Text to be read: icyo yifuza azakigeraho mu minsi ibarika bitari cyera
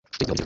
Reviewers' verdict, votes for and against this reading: rejected, 1, 2